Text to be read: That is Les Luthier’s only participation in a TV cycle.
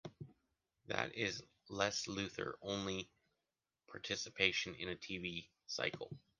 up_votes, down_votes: 0, 2